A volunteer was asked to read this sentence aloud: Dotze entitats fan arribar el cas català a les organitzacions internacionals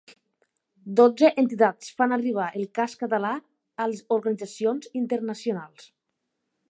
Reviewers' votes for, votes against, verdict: 0, 3, rejected